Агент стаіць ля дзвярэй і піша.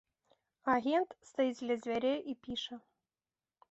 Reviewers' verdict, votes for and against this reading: accepted, 2, 0